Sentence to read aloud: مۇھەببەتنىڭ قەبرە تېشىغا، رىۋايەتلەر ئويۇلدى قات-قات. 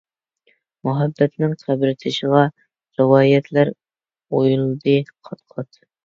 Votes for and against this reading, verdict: 1, 2, rejected